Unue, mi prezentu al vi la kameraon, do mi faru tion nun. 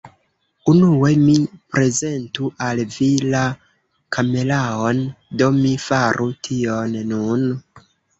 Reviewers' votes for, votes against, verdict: 1, 2, rejected